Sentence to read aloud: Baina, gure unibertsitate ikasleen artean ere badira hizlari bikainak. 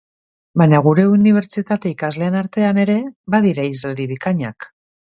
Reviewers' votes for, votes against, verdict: 3, 0, accepted